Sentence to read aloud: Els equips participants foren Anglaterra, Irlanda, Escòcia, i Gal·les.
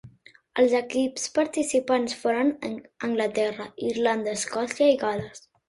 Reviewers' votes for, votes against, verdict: 1, 2, rejected